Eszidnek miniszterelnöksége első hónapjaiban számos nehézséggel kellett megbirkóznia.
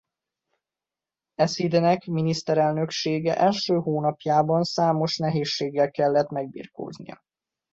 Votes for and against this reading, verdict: 2, 0, accepted